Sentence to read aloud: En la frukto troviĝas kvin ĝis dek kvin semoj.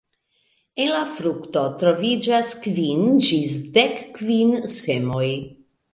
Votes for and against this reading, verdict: 2, 0, accepted